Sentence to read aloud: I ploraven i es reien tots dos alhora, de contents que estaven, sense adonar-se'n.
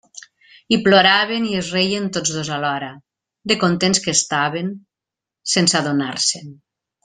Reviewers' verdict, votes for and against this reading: accepted, 2, 0